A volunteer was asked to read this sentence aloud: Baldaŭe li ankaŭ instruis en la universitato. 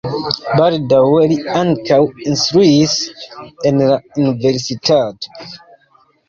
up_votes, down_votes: 0, 2